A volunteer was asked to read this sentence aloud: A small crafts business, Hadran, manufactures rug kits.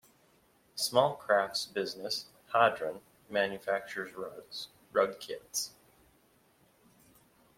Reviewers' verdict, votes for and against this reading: rejected, 1, 2